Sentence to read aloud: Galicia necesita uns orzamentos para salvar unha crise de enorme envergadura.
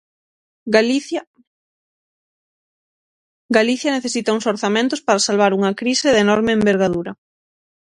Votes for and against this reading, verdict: 0, 6, rejected